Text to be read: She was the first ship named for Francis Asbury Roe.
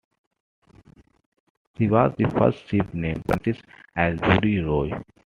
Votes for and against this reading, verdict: 2, 0, accepted